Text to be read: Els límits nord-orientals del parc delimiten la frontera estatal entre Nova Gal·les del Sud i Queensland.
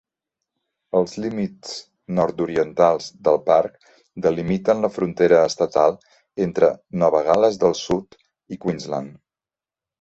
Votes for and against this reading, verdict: 2, 0, accepted